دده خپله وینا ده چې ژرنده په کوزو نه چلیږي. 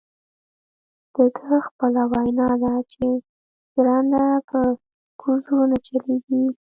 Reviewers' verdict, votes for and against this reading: accepted, 2, 1